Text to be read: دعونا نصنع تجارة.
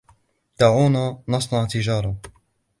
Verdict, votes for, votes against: accepted, 2, 0